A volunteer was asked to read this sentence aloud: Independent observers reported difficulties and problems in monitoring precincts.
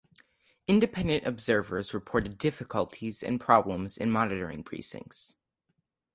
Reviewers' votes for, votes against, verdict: 4, 0, accepted